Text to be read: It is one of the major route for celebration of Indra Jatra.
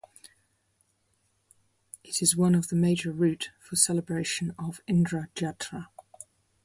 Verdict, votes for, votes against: rejected, 0, 2